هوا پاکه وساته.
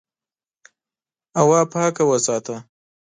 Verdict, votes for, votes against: accepted, 2, 0